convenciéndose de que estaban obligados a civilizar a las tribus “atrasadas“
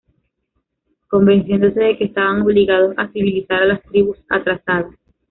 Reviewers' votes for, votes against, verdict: 2, 0, accepted